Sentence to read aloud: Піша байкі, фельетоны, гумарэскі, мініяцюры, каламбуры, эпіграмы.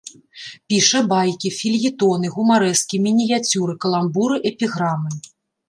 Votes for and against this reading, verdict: 2, 0, accepted